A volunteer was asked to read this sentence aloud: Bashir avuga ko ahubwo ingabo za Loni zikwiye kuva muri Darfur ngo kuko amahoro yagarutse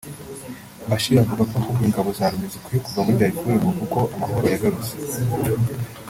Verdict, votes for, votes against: rejected, 0, 2